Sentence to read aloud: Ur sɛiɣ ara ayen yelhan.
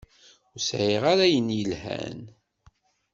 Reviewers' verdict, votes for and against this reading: accepted, 2, 0